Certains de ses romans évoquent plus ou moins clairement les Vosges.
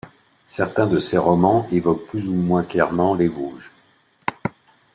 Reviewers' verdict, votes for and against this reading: accepted, 3, 0